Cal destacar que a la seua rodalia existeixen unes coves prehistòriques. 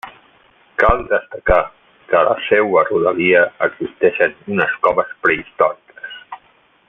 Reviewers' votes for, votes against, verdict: 2, 0, accepted